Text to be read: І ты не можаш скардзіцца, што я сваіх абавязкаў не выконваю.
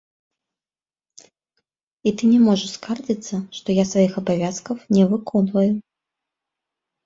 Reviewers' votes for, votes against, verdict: 1, 2, rejected